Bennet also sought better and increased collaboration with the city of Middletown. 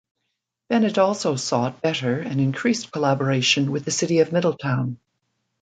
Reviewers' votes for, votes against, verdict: 2, 1, accepted